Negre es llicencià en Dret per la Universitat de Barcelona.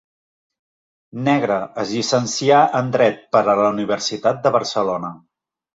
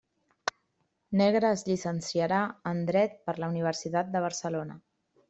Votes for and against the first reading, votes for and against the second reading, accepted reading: 2, 1, 0, 2, first